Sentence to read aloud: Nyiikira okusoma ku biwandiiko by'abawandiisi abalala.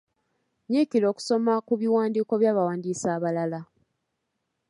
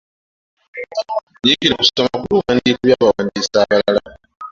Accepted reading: first